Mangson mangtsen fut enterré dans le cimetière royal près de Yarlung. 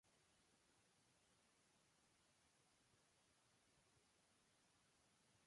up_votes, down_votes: 0, 2